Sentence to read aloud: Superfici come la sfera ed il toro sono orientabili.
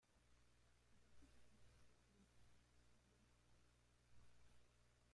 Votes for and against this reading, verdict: 1, 2, rejected